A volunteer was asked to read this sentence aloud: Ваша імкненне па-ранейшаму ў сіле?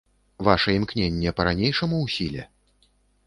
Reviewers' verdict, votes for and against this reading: accepted, 2, 0